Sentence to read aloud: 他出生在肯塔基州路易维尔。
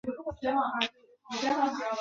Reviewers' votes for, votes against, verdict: 0, 4, rejected